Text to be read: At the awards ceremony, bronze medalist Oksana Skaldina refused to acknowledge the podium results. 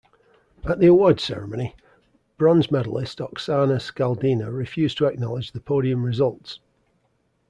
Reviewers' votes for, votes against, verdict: 2, 0, accepted